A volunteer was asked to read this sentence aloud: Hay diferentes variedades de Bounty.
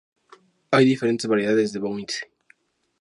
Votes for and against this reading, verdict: 2, 0, accepted